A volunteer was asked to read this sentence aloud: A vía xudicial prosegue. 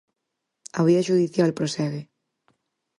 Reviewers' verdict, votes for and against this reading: accepted, 4, 0